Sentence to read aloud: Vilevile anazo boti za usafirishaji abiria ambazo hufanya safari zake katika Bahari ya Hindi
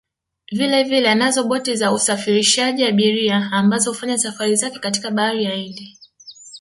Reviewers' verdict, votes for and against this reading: rejected, 1, 3